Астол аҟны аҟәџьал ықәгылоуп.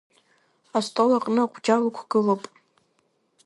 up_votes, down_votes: 2, 0